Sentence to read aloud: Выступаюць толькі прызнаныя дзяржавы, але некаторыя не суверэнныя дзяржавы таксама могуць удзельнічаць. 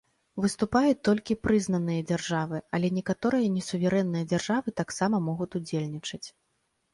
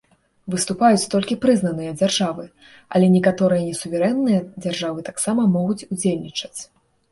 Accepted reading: second